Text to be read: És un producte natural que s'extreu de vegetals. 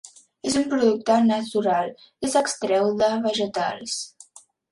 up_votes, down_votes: 3, 0